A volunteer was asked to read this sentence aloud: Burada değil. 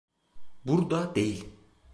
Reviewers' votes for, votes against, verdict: 1, 2, rejected